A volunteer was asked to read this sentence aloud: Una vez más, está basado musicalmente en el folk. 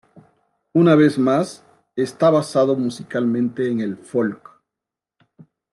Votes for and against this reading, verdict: 2, 0, accepted